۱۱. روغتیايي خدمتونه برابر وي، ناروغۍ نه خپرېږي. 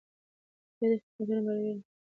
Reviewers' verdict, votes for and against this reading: rejected, 0, 2